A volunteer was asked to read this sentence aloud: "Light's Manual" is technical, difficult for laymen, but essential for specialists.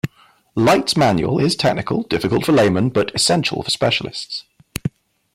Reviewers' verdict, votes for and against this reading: rejected, 1, 2